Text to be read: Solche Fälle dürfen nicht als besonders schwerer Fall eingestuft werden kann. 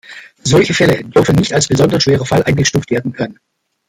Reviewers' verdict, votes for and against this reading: rejected, 1, 3